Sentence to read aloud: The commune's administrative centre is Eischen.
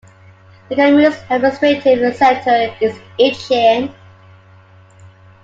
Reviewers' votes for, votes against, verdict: 1, 2, rejected